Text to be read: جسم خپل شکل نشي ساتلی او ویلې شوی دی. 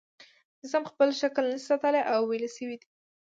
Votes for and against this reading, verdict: 3, 1, accepted